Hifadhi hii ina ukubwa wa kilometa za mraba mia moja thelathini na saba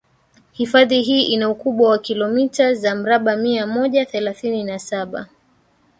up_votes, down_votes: 3, 2